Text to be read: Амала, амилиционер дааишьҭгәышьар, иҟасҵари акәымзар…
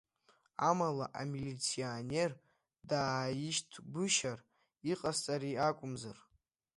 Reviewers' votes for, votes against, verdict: 2, 0, accepted